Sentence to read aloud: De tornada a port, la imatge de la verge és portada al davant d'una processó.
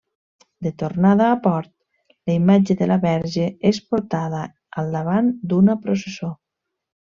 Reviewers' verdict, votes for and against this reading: accepted, 3, 0